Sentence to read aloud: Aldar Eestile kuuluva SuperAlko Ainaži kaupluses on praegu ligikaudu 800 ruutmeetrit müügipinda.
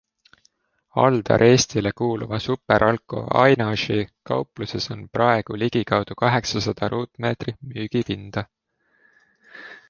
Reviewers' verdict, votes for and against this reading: rejected, 0, 2